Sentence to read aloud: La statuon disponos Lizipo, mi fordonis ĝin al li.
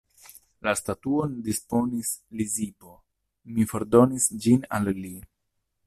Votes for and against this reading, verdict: 0, 2, rejected